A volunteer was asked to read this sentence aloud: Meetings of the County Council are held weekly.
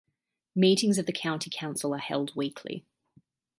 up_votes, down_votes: 3, 0